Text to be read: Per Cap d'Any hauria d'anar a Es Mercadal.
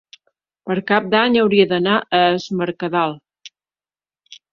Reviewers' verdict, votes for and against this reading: accepted, 3, 0